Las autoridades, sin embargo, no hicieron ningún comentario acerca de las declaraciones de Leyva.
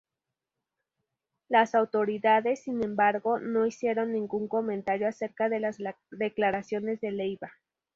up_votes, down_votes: 2, 0